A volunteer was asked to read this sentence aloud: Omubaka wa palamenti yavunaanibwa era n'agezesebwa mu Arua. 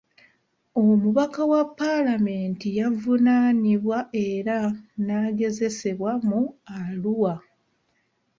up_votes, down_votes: 2, 0